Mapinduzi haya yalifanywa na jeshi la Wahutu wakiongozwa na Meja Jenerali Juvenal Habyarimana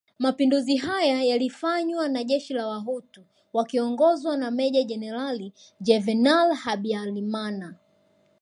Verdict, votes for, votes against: rejected, 1, 2